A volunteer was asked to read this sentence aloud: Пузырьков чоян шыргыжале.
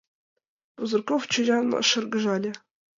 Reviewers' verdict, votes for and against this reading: accepted, 2, 0